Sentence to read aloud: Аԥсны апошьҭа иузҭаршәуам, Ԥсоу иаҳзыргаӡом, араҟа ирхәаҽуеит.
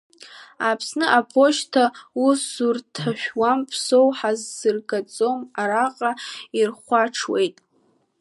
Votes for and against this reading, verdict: 1, 3, rejected